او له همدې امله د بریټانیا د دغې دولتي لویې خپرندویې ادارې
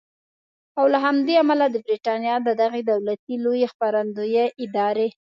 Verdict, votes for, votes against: accepted, 2, 0